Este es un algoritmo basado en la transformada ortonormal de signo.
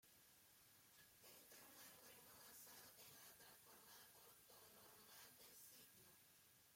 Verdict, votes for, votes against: rejected, 0, 2